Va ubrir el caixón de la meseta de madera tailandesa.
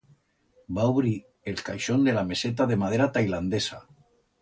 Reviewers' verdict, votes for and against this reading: accepted, 2, 0